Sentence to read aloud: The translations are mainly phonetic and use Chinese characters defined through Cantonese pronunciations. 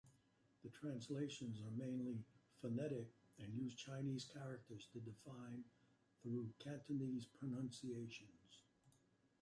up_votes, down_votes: 1, 2